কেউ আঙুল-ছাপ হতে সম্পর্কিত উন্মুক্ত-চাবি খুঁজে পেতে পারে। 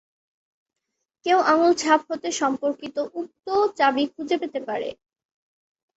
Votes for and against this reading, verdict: 0, 3, rejected